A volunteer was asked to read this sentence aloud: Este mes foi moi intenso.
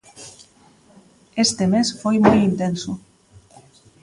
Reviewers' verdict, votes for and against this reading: accepted, 2, 0